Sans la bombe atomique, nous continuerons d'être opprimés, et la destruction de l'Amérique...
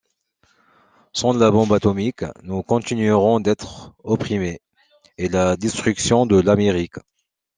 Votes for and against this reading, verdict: 0, 2, rejected